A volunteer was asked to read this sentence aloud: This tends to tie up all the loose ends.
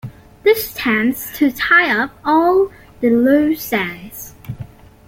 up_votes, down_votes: 2, 0